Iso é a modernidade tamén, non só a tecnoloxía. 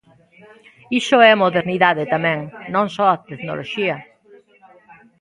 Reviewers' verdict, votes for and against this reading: rejected, 0, 2